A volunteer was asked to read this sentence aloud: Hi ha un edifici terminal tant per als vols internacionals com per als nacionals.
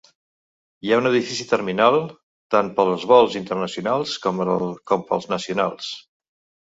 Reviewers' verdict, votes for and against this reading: rejected, 1, 2